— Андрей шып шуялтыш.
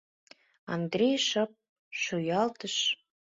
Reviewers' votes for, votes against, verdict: 2, 0, accepted